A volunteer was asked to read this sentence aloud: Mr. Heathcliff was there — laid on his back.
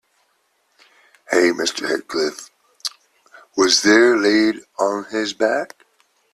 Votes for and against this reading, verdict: 0, 2, rejected